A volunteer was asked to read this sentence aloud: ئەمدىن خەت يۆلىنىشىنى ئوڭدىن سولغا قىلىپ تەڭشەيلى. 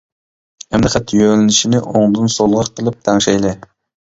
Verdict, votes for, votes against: accepted, 2, 0